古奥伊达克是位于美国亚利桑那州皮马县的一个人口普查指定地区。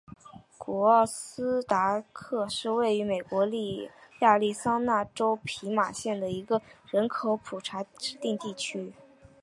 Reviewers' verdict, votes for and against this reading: accepted, 3, 0